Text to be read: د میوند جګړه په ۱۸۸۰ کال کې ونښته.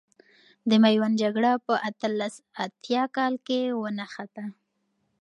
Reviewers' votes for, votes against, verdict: 0, 2, rejected